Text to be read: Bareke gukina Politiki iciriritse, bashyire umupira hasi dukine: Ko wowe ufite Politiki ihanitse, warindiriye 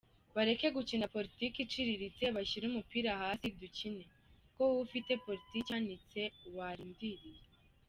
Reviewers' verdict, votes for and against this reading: accepted, 2, 0